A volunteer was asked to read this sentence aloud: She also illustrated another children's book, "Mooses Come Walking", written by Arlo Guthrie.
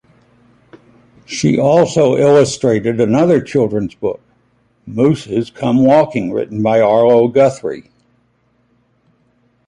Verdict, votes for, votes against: accepted, 2, 1